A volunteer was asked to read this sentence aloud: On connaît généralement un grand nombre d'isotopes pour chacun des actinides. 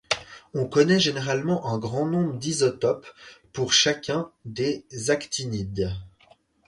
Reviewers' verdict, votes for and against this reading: accepted, 4, 0